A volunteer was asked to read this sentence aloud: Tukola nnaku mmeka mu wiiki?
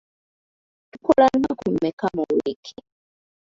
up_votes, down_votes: 0, 2